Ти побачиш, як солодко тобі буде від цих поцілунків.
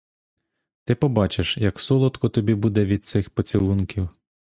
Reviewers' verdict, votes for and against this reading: accepted, 2, 0